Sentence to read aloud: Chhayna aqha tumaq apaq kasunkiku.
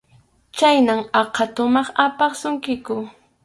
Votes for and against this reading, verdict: 0, 2, rejected